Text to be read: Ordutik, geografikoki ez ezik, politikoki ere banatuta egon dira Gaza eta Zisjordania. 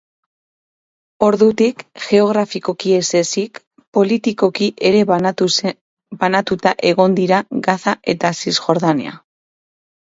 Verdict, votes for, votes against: rejected, 0, 2